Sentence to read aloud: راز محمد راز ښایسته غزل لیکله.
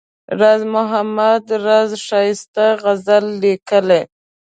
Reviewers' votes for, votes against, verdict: 1, 2, rejected